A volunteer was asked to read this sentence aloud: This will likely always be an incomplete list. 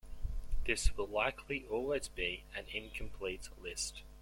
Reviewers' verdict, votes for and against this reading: accepted, 2, 1